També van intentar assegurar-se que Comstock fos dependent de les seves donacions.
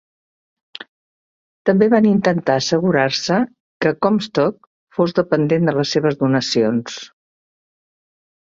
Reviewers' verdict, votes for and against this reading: accepted, 4, 0